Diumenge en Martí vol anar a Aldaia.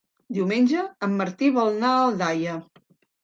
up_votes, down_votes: 2, 3